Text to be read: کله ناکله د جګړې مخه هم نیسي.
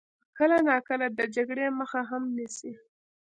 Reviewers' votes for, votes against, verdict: 1, 2, rejected